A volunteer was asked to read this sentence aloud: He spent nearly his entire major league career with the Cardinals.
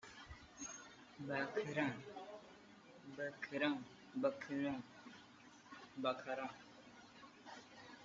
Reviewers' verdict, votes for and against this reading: rejected, 1, 2